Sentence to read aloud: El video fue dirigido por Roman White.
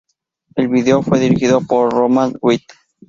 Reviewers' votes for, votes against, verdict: 2, 0, accepted